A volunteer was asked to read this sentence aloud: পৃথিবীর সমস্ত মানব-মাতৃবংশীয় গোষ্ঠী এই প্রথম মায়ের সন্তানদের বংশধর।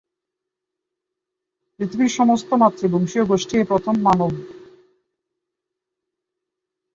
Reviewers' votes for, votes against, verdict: 0, 3, rejected